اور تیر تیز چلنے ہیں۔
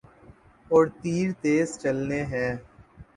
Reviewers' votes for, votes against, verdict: 3, 0, accepted